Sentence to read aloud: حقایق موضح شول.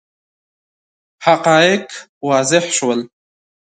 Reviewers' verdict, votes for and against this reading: rejected, 1, 3